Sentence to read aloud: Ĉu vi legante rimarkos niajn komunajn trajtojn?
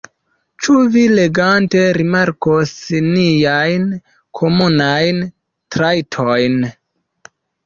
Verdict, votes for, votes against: rejected, 0, 2